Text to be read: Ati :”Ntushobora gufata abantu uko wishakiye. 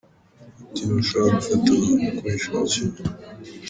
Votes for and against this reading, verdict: 2, 0, accepted